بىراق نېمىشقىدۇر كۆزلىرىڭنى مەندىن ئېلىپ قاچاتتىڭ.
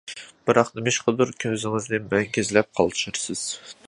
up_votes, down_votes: 0, 2